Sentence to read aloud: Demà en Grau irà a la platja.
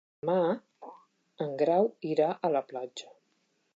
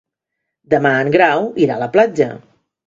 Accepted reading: second